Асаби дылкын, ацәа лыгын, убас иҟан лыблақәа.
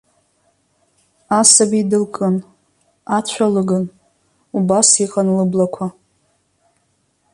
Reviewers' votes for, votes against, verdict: 2, 0, accepted